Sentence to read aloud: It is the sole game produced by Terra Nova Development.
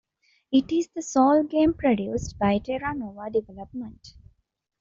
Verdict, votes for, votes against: accepted, 2, 0